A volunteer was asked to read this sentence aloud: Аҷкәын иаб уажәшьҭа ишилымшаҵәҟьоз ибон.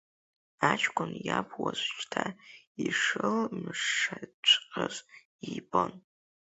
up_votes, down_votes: 0, 2